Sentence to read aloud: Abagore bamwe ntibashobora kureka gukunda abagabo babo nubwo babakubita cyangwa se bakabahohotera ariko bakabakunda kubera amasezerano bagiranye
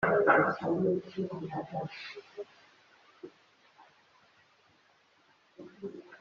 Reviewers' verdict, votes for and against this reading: rejected, 1, 2